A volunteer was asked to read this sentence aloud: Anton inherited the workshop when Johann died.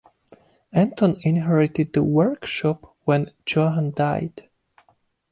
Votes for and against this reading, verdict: 3, 0, accepted